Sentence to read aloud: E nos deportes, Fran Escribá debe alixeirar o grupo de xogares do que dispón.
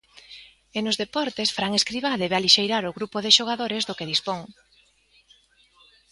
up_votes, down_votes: 2, 0